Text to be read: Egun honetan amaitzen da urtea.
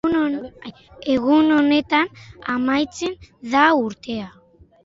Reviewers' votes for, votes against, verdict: 0, 2, rejected